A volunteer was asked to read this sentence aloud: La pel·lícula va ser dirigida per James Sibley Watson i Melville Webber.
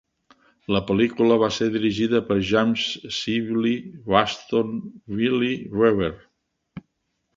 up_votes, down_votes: 2, 4